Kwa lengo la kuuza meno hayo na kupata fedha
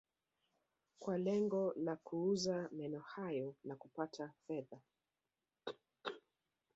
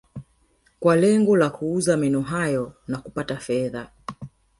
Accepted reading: first